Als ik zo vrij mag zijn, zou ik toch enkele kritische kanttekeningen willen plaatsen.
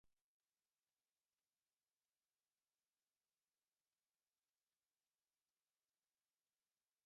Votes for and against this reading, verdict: 1, 2, rejected